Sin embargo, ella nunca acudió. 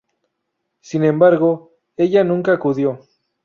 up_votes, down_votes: 2, 0